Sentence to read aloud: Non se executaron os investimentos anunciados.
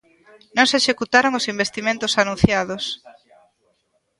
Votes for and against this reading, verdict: 2, 0, accepted